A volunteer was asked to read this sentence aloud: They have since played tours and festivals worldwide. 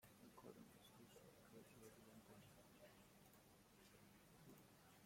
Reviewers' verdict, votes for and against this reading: rejected, 0, 2